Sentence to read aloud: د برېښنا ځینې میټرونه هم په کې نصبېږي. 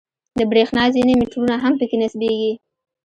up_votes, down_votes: 2, 0